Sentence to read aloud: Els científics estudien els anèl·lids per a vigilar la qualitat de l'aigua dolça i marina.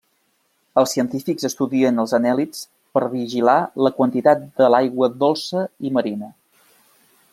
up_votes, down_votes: 0, 2